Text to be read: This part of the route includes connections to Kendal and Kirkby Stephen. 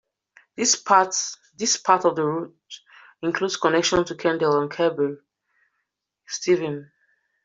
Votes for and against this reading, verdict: 0, 2, rejected